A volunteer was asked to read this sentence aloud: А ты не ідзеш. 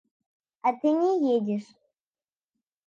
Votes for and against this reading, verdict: 0, 2, rejected